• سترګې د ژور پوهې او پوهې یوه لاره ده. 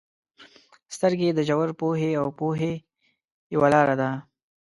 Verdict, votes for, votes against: accepted, 2, 0